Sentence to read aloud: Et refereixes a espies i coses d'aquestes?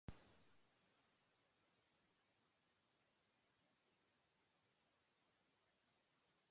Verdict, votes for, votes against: rejected, 0, 2